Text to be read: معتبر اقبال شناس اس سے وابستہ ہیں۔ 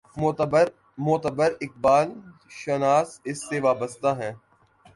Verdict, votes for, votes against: rejected, 0, 2